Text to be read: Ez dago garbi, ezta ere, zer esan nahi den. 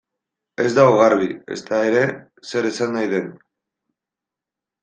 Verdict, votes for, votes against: accepted, 2, 0